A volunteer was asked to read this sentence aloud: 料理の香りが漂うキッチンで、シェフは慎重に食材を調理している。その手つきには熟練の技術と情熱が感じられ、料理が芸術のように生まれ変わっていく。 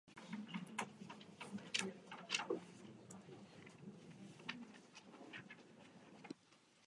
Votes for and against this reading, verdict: 0, 3, rejected